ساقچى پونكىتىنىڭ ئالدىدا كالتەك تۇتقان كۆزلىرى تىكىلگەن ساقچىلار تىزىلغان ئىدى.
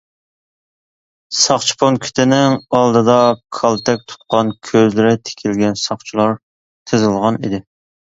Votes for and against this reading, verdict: 2, 0, accepted